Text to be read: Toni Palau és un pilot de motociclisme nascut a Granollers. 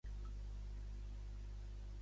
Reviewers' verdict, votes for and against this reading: rejected, 1, 2